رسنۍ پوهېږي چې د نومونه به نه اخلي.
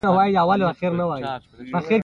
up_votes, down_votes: 0, 2